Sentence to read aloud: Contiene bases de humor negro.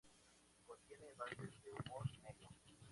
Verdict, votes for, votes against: accepted, 2, 0